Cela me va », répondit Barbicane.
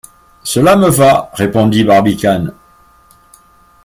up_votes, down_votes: 2, 0